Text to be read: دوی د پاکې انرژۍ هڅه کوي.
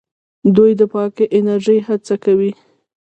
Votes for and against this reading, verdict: 0, 2, rejected